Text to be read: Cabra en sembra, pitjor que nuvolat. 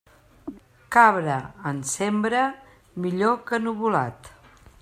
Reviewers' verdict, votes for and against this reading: rejected, 0, 3